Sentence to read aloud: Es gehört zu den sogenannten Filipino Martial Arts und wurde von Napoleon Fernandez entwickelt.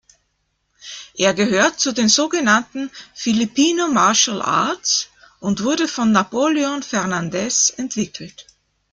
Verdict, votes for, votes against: rejected, 0, 2